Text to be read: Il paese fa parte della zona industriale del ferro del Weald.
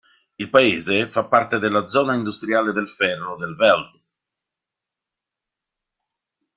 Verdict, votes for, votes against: rejected, 1, 2